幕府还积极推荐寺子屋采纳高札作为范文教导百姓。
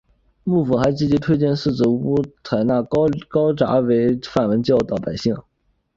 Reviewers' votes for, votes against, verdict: 2, 1, accepted